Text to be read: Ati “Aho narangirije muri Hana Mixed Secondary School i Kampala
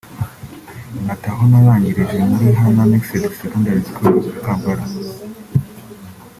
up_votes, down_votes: 1, 2